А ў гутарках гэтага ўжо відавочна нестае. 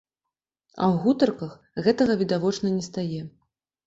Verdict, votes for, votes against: rejected, 1, 2